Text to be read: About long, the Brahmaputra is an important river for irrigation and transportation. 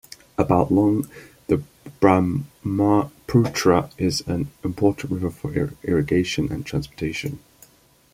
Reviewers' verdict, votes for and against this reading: rejected, 1, 2